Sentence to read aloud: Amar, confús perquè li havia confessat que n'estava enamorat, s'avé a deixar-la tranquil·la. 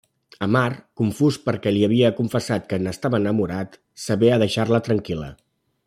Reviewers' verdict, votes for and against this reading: rejected, 1, 2